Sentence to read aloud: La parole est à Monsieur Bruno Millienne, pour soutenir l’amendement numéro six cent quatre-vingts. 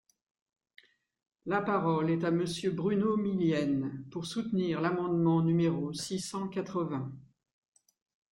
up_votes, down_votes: 2, 0